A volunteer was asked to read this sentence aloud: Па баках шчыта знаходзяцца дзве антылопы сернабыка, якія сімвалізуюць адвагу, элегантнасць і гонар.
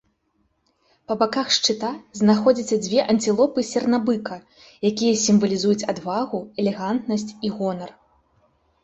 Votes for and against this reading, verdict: 1, 2, rejected